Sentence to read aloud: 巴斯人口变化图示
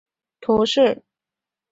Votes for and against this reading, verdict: 0, 2, rejected